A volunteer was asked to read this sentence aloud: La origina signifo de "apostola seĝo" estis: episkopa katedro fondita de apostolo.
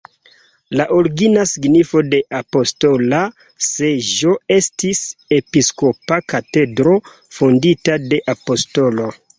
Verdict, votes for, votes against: accepted, 2, 0